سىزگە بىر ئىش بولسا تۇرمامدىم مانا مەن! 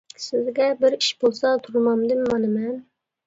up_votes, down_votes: 2, 0